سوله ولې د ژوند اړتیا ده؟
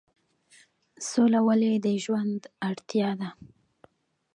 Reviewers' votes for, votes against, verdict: 1, 2, rejected